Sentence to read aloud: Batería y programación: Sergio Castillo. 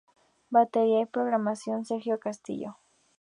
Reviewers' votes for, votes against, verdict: 2, 0, accepted